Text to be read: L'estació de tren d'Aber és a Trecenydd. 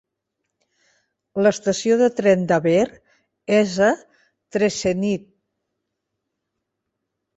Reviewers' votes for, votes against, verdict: 2, 0, accepted